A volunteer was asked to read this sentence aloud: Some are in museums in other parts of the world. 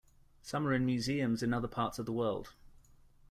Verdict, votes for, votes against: accepted, 2, 0